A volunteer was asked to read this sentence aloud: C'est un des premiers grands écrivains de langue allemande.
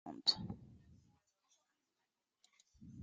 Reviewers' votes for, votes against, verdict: 1, 2, rejected